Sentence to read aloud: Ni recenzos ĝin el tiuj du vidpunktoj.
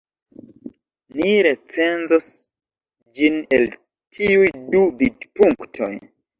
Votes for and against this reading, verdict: 1, 2, rejected